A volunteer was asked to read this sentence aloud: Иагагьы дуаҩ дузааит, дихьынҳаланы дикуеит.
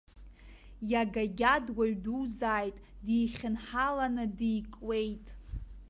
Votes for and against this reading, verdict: 0, 2, rejected